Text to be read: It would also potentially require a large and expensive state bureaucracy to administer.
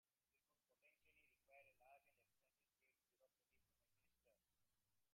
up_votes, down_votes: 0, 2